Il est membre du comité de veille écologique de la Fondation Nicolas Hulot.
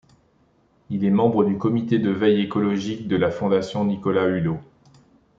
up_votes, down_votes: 2, 0